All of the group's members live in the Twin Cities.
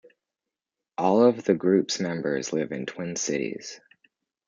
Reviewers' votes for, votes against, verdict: 1, 2, rejected